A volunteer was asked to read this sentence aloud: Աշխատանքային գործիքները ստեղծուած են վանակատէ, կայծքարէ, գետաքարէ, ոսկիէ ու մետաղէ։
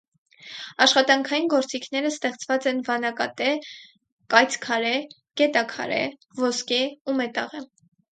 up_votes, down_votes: 0, 4